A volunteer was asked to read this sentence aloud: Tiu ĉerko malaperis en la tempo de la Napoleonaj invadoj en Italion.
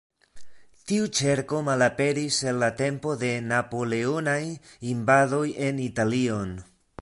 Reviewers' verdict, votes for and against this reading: rejected, 1, 2